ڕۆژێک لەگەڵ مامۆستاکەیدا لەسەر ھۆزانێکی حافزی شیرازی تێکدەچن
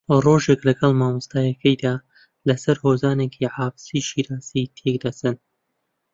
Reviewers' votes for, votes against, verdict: 2, 0, accepted